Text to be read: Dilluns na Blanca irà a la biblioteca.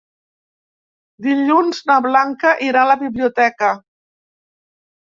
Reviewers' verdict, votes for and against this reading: accepted, 4, 0